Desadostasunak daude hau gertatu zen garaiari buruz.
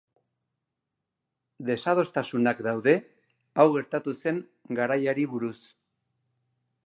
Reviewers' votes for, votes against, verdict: 2, 0, accepted